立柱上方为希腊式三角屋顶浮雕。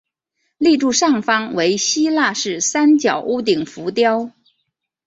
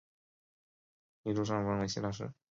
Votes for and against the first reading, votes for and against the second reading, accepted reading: 4, 0, 0, 2, first